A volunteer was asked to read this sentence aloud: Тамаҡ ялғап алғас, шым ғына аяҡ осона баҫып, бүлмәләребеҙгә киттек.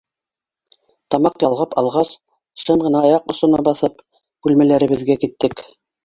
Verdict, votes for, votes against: rejected, 1, 2